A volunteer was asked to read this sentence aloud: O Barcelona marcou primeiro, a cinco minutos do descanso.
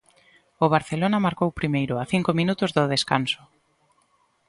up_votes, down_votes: 2, 0